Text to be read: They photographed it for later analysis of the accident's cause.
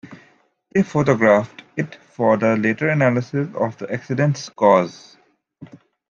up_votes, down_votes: 1, 2